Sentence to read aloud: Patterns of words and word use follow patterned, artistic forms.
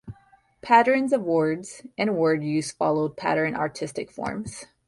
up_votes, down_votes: 1, 2